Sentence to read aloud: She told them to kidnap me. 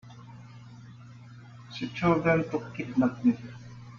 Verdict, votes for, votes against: accepted, 2, 0